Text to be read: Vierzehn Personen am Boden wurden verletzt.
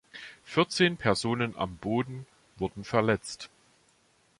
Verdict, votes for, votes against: accepted, 2, 0